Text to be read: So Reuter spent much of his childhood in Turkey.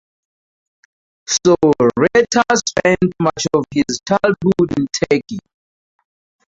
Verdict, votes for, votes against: rejected, 0, 4